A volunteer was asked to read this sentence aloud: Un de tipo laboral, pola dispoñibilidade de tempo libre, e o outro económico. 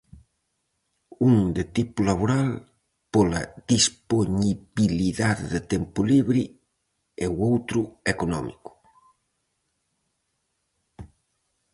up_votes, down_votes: 2, 2